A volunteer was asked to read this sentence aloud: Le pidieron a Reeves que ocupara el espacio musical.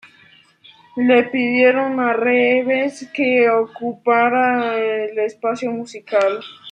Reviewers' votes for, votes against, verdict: 0, 2, rejected